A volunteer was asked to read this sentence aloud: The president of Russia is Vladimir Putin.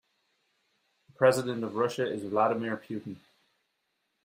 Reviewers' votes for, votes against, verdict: 1, 2, rejected